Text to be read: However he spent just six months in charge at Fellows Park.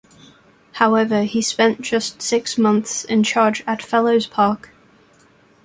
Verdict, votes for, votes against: accepted, 2, 0